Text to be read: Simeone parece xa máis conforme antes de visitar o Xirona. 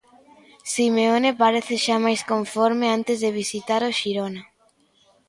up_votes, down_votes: 2, 0